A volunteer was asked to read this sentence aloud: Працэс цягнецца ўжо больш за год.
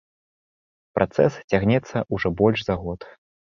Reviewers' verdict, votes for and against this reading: rejected, 1, 3